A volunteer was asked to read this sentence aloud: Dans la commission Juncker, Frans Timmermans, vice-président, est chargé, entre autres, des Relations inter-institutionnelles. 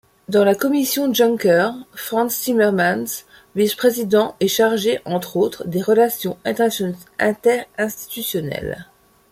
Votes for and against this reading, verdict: 0, 2, rejected